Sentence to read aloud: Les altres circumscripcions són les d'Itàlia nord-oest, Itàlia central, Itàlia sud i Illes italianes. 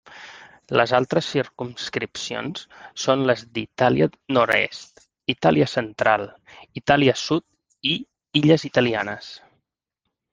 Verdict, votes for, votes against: rejected, 0, 2